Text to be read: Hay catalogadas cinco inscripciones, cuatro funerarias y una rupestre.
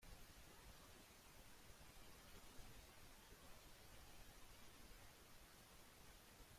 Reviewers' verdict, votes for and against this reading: rejected, 0, 2